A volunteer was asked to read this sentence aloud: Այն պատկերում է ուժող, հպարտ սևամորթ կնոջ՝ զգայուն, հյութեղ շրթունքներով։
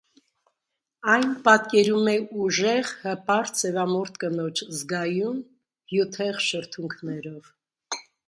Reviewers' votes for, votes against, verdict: 1, 2, rejected